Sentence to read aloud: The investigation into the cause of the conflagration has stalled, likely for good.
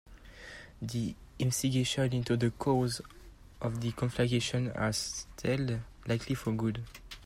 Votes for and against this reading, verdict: 1, 2, rejected